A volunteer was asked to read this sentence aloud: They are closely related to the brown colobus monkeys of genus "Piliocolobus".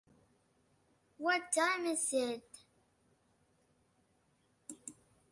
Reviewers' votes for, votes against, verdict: 0, 2, rejected